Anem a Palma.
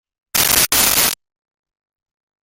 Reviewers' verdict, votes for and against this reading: rejected, 0, 2